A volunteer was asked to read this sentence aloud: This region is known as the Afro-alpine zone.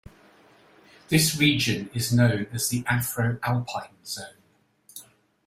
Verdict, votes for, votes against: accepted, 2, 0